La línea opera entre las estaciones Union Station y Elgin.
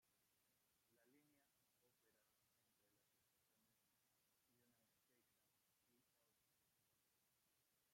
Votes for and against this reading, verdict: 0, 2, rejected